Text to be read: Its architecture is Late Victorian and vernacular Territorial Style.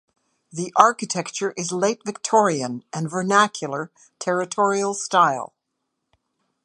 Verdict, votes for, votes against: rejected, 0, 2